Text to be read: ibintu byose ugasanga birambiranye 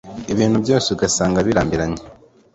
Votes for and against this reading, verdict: 3, 0, accepted